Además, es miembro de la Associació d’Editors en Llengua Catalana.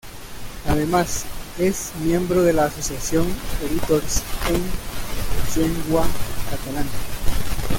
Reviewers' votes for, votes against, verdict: 0, 2, rejected